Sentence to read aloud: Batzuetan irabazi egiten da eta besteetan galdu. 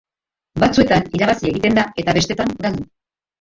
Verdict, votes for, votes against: rejected, 0, 2